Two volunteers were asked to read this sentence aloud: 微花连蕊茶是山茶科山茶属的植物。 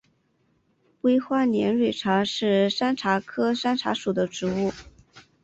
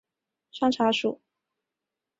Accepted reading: first